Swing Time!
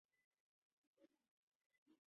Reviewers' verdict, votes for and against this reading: rejected, 0, 2